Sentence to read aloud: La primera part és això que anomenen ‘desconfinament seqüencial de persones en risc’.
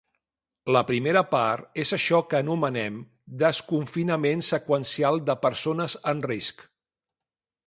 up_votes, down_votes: 1, 2